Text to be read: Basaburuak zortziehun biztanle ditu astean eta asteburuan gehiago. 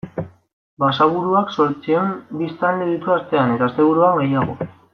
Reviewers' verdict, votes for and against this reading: rejected, 1, 2